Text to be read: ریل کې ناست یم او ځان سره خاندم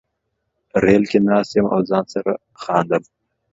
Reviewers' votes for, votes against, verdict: 2, 0, accepted